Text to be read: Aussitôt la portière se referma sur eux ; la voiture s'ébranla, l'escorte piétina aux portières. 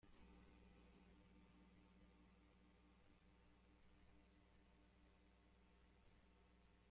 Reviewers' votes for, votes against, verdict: 0, 2, rejected